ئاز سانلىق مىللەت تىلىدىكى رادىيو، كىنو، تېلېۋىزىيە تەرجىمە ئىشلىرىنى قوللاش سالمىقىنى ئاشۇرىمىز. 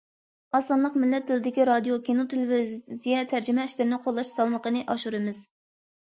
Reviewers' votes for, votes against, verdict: 0, 2, rejected